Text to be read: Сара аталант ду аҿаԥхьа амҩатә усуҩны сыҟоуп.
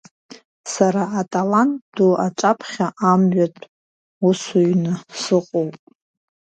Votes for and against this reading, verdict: 2, 0, accepted